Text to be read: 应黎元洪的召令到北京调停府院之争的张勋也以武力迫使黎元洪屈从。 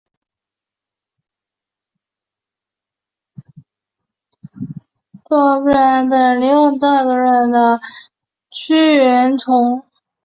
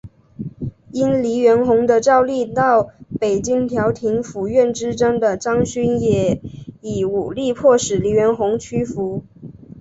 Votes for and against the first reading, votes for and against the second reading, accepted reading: 0, 2, 3, 2, second